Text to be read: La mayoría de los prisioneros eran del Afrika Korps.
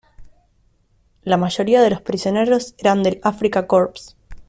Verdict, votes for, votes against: accepted, 2, 0